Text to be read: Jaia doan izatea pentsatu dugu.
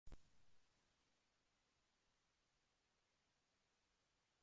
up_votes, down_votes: 1, 2